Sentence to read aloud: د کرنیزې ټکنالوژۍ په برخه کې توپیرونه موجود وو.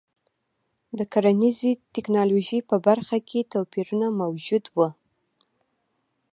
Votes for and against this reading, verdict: 2, 1, accepted